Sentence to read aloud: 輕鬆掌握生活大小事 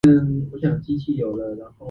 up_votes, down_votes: 0, 2